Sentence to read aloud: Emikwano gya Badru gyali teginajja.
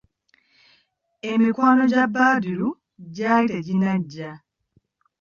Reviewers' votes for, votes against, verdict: 0, 2, rejected